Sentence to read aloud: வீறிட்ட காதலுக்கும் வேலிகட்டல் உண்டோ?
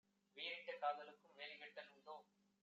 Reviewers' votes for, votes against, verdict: 1, 2, rejected